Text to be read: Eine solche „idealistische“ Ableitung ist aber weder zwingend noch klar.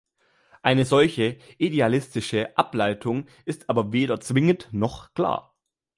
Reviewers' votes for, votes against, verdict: 2, 0, accepted